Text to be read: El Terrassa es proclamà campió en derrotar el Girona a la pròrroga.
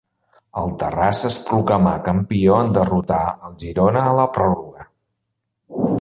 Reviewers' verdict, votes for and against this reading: accepted, 2, 1